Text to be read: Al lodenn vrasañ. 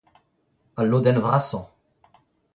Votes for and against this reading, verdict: 2, 0, accepted